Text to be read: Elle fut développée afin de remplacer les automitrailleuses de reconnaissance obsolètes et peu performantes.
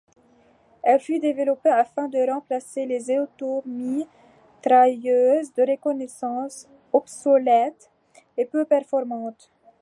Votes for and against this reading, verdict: 2, 1, accepted